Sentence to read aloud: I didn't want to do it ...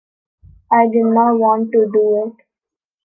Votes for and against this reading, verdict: 2, 1, accepted